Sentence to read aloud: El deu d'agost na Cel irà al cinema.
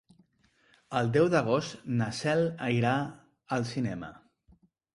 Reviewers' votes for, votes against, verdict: 2, 3, rejected